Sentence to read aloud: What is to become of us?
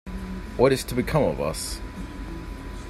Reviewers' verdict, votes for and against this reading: accepted, 2, 0